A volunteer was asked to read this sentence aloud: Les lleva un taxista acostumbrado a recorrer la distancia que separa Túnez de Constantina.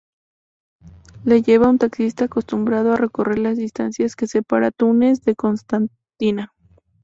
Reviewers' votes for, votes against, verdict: 0, 2, rejected